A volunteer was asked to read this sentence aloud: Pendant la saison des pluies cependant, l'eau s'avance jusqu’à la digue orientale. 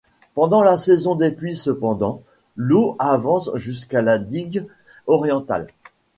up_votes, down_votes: 1, 2